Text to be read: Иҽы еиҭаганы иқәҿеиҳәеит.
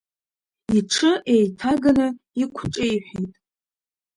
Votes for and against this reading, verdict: 2, 1, accepted